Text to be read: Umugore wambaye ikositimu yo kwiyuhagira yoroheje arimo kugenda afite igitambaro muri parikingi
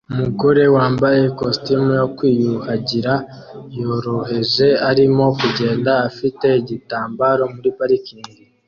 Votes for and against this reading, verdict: 2, 0, accepted